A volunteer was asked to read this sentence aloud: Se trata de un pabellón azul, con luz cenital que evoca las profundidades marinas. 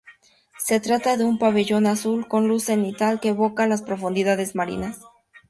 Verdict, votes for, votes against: accepted, 2, 0